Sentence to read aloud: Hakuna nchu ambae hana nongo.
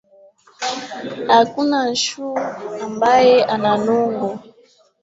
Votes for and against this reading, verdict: 1, 2, rejected